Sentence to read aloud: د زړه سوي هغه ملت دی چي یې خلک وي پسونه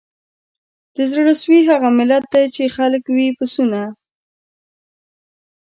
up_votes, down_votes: 2, 1